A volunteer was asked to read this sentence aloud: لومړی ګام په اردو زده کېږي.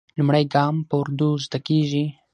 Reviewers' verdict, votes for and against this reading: accepted, 6, 0